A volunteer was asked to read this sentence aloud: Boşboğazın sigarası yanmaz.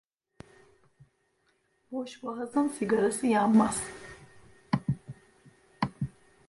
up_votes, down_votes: 2, 1